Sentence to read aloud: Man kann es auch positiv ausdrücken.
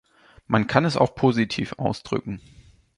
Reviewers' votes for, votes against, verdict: 2, 0, accepted